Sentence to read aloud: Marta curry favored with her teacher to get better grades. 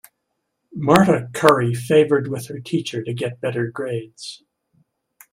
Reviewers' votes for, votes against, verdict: 2, 1, accepted